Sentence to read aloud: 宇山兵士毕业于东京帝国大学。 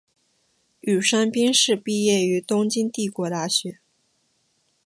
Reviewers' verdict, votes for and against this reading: accepted, 2, 1